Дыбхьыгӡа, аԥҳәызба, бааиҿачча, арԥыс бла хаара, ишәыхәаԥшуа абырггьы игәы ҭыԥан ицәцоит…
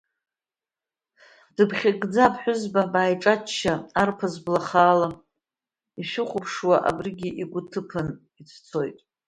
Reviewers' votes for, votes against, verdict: 0, 2, rejected